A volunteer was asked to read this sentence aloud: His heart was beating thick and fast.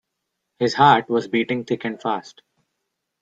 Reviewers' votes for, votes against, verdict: 0, 2, rejected